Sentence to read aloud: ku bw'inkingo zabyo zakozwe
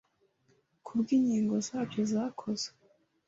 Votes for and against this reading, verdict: 2, 1, accepted